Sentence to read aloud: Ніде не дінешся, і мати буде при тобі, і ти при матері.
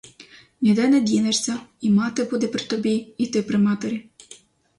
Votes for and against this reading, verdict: 0, 2, rejected